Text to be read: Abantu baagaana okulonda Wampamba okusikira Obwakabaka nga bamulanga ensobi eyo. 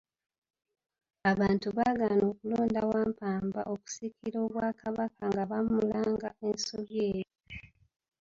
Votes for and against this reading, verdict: 1, 2, rejected